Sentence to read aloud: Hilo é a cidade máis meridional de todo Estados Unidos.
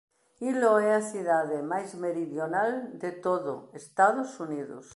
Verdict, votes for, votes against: accepted, 2, 0